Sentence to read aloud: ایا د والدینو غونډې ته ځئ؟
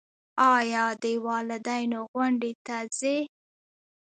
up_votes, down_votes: 2, 0